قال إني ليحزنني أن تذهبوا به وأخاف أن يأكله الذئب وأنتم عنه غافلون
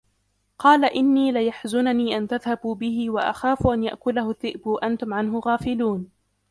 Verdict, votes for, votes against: rejected, 0, 2